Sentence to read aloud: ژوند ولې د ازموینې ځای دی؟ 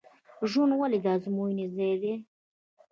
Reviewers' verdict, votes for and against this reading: rejected, 1, 2